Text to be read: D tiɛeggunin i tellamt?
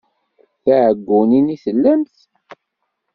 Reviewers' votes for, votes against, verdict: 3, 0, accepted